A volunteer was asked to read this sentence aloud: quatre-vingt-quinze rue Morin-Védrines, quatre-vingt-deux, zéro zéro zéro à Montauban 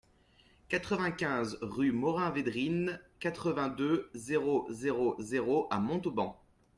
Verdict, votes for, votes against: accepted, 2, 0